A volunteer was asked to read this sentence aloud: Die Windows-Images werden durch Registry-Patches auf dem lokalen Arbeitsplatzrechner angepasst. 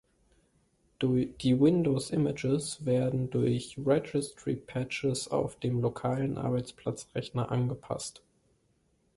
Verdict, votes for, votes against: rejected, 2, 3